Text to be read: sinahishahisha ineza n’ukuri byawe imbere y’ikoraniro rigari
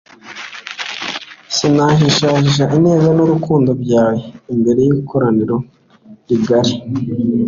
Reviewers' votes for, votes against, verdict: 2, 0, accepted